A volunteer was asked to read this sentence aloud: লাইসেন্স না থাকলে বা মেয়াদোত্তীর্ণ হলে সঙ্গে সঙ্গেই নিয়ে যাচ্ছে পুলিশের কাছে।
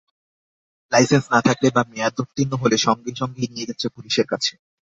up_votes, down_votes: 2, 0